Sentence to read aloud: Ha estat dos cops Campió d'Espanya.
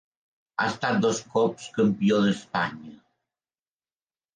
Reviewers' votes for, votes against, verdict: 2, 0, accepted